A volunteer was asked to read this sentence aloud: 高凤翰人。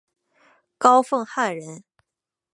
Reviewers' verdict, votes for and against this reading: accepted, 5, 0